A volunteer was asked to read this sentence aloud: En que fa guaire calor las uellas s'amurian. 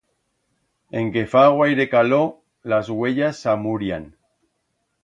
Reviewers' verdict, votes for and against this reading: accepted, 2, 0